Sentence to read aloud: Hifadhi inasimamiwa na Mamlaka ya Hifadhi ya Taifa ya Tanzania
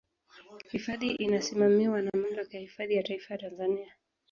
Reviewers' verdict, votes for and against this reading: accepted, 2, 0